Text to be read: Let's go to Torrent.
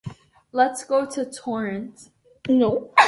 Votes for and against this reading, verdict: 1, 2, rejected